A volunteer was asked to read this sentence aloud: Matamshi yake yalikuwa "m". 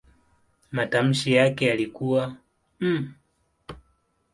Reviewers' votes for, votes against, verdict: 2, 0, accepted